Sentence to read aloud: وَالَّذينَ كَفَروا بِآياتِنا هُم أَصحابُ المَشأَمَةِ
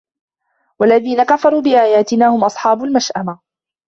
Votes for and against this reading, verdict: 2, 1, accepted